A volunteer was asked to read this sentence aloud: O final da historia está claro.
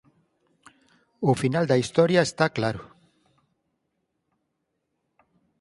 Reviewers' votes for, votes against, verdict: 4, 0, accepted